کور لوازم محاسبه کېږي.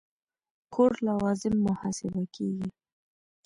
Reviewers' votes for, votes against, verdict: 1, 2, rejected